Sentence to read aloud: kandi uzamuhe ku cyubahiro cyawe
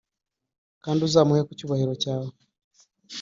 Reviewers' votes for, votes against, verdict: 2, 0, accepted